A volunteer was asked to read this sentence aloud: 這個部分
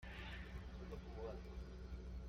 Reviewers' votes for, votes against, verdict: 0, 2, rejected